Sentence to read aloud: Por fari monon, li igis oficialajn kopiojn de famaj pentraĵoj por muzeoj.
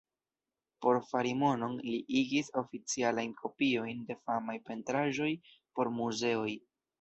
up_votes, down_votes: 1, 2